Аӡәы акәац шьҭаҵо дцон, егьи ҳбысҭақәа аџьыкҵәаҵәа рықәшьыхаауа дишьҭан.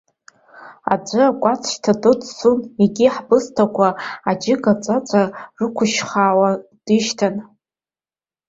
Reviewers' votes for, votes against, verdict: 1, 3, rejected